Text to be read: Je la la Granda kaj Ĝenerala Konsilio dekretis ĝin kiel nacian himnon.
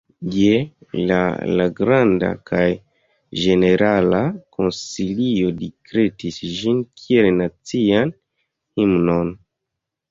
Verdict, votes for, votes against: accepted, 2, 0